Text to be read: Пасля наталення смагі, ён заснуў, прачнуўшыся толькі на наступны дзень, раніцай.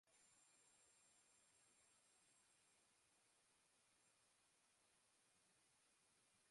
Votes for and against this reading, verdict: 0, 2, rejected